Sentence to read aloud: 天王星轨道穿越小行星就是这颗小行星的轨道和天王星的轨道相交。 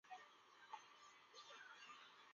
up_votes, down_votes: 0, 2